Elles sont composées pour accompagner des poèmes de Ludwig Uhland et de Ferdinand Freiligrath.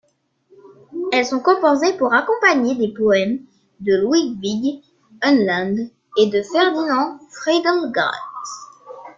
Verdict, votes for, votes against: rejected, 1, 2